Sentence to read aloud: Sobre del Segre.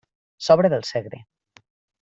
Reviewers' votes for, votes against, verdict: 3, 0, accepted